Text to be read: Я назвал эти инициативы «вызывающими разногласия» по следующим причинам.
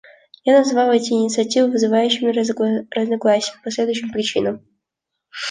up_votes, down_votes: 0, 2